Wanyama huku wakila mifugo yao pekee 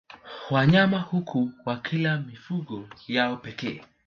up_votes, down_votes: 0, 2